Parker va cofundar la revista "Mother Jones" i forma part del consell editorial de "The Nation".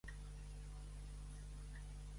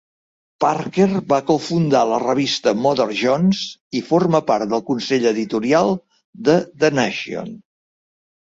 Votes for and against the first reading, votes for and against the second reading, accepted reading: 0, 2, 2, 0, second